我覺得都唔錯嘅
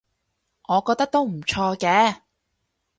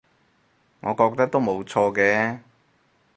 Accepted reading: first